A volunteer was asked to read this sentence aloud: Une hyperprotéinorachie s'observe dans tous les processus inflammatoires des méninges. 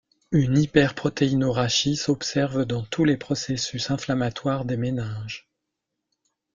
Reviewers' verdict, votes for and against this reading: accepted, 2, 0